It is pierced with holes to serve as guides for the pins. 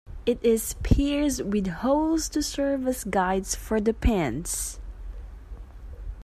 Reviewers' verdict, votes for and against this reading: rejected, 1, 2